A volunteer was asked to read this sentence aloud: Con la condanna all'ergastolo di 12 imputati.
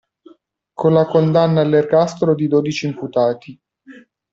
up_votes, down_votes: 0, 2